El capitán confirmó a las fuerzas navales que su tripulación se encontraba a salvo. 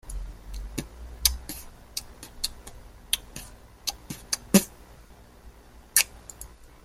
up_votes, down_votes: 0, 2